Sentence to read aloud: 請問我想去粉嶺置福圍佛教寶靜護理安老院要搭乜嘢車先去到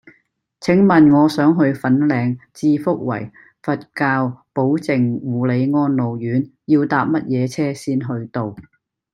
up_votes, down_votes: 2, 0